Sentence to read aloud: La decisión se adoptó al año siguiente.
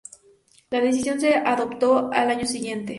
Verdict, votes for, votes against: accepted, 2, 0